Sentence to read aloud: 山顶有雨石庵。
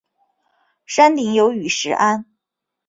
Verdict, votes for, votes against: accepted, 3, 0